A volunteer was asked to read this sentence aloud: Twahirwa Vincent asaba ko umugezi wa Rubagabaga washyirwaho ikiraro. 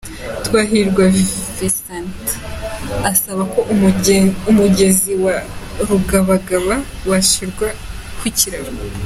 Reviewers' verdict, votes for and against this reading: rejected, 1, 2